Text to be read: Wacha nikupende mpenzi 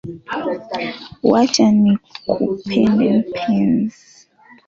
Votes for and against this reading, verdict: 0, 2, rejected